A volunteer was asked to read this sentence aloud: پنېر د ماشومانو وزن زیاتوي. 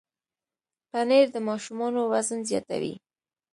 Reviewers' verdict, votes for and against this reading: accepted, 2, 0